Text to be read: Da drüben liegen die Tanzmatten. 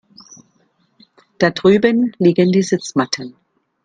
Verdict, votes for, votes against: rejected, 0, 2